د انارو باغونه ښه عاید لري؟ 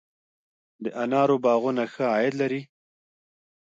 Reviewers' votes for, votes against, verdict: 2, 0, accepted